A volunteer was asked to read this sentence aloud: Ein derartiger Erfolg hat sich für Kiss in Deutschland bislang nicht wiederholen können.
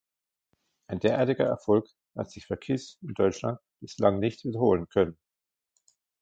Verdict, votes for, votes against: accepted, 2, 0